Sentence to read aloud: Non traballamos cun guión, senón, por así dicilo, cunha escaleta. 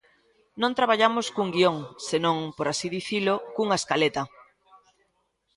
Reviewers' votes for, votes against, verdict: 2, 0, accepted